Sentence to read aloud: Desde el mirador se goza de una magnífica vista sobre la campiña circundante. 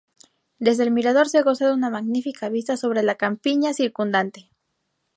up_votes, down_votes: 2, 0